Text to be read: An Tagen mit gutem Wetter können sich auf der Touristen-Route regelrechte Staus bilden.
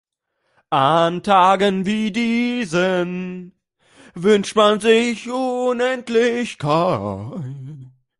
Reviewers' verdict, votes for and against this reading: rejected, 0, 2